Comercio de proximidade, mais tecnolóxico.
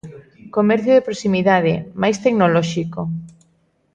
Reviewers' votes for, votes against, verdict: 2, 0, accepted